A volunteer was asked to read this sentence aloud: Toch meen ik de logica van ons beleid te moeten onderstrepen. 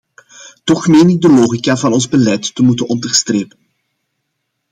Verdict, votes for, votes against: accepted, 2, 0